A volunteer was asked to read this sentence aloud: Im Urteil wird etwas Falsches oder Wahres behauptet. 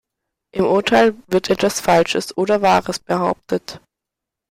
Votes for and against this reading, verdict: 2, 0, accepted